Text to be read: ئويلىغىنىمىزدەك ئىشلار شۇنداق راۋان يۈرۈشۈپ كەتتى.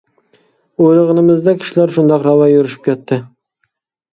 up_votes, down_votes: 2, 0